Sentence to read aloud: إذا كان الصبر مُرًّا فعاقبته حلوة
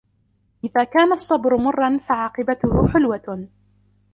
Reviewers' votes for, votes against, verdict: 1, 2, rejected